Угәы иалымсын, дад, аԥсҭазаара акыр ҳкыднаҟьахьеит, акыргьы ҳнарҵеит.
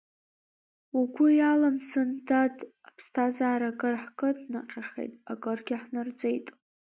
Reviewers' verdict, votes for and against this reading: accepted, 3, 1